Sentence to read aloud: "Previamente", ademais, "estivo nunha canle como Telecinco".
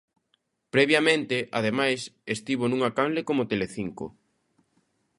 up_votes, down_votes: 2, 0